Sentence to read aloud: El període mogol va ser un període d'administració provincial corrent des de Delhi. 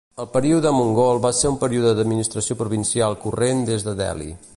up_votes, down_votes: 0, 2